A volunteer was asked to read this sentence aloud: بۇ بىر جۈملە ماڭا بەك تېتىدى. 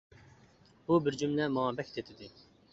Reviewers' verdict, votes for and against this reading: accepted, 2, 0